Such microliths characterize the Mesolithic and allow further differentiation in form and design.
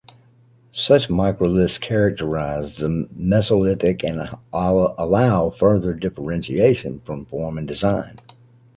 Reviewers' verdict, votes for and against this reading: rejected, 0, 2